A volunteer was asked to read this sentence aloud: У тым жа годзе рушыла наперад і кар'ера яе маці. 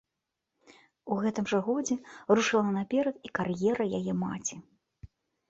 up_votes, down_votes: 0, 2